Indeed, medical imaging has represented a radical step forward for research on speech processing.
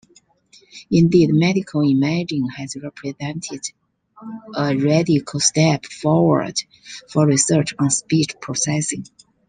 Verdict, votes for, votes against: accepted, 2, 1